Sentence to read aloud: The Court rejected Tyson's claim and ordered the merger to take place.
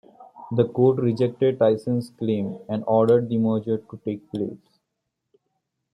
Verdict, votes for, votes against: rejected, 1, 2